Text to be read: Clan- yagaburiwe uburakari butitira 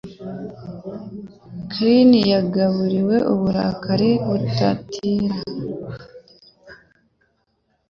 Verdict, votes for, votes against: rejected, 0, 2